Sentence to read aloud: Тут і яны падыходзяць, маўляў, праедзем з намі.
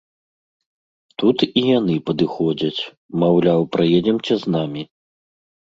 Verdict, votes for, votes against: rejected, 1, 2